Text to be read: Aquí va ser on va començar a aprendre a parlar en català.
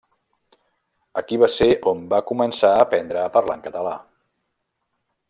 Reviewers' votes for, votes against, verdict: 4, 0, accepted